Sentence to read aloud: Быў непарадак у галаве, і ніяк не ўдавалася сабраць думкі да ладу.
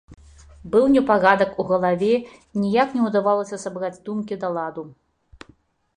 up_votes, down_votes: 2, 1